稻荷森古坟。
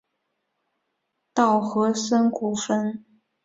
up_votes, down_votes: 2, 0